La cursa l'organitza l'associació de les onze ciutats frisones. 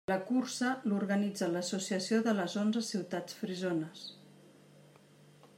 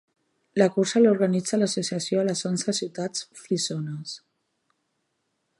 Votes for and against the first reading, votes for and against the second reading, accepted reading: 2, 0, 1, 2, first